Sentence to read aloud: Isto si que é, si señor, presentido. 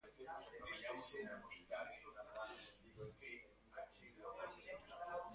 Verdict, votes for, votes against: rejected, 0, 2